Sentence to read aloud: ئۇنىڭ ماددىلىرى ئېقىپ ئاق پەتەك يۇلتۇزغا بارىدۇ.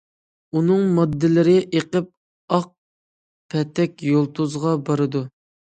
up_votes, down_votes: 2, 0